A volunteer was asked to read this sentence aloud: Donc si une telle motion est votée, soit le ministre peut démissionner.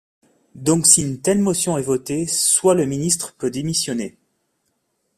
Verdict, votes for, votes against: accepted, 2, 0